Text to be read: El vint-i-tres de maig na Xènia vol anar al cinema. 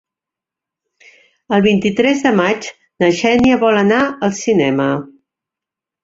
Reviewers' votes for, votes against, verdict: 3, 0, accepted